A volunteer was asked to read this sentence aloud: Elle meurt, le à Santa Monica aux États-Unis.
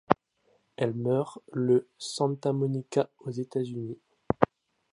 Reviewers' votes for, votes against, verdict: 0, 2, rejected